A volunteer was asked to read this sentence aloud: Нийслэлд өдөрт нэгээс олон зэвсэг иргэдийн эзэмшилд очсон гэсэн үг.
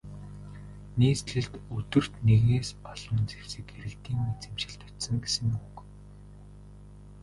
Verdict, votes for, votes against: rejected, 1, 2